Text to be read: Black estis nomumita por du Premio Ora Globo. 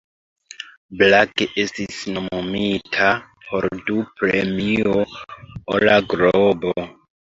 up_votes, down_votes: 2, 0